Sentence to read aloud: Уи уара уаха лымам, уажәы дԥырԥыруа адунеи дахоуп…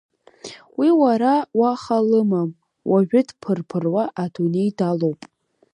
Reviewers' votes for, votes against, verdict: 0, 2, rejected